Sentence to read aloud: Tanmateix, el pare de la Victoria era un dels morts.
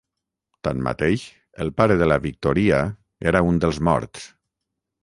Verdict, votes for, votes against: rejected, 3, 3